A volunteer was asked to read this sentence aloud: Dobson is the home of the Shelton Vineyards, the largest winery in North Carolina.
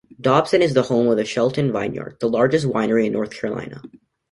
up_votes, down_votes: 2, 0